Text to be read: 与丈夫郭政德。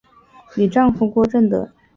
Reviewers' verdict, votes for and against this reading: rejected, 1, 2